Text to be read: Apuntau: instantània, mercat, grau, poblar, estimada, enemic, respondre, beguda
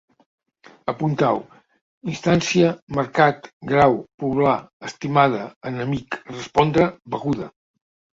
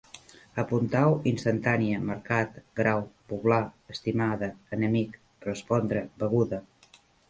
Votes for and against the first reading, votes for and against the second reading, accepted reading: 1, 2, 2, 0, second